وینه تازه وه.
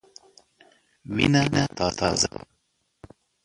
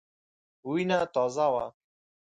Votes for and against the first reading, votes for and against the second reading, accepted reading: 2, 3, 4, 0, second